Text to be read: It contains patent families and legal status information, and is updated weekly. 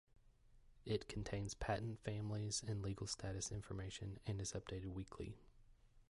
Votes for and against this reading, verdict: 2, 0, accepted